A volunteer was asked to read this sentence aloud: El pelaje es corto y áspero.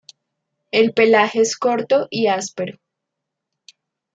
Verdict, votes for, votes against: accepted, 2, 0